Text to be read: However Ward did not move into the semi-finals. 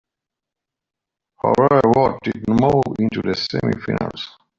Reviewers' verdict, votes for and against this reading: rejected, 0, 2